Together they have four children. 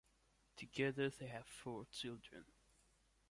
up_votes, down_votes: 2, 0